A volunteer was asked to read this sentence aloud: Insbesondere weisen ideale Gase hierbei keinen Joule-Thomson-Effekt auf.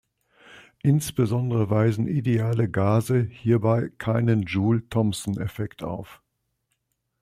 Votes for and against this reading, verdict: 2, 0, accepted